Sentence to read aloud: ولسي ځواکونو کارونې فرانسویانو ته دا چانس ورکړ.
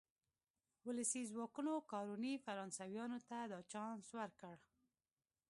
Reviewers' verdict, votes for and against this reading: rejected, 1, 2